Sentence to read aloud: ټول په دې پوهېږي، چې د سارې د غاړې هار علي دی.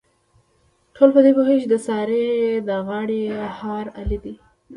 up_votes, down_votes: 0, 2